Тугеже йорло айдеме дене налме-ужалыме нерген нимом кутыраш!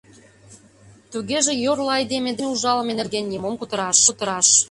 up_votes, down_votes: 1, 2